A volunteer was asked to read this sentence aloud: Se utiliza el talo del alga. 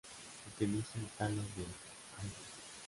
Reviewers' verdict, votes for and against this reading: rejected, 1, 2